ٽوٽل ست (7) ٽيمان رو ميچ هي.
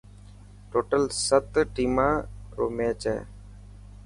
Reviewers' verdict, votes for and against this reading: rejected, 0, 2